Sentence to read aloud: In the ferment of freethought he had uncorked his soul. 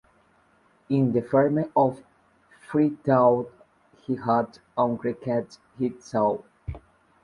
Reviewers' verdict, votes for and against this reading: rejected, 0, 2